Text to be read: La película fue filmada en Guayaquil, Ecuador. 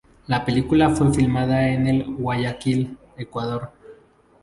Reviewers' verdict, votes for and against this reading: rejected, 0, 2